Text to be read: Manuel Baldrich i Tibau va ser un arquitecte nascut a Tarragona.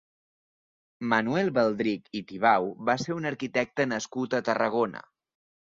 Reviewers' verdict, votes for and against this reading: accepted, 4, 0